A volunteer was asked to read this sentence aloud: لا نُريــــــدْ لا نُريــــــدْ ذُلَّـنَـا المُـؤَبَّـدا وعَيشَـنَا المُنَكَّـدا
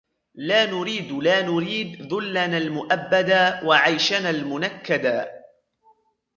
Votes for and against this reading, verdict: 2, 0, accepted